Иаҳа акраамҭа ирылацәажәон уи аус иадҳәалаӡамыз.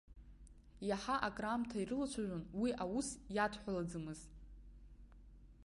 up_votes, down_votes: 1, 2